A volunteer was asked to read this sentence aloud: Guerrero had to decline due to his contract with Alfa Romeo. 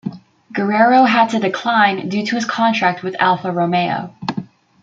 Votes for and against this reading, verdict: 2, 0, accepted